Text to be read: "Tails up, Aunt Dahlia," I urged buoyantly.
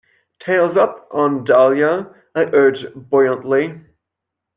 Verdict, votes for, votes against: accepted, 2, 0